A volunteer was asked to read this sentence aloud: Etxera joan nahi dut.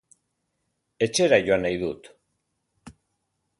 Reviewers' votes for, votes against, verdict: 2, 0, accepted